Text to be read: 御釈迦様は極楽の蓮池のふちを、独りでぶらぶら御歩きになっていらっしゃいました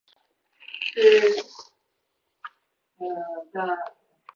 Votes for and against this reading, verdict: 0, 2, rejected